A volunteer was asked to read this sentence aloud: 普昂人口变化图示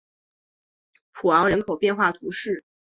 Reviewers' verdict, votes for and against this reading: accepted, 2, 0